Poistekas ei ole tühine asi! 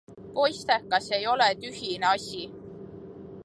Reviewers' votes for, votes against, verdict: 2, 0, accepted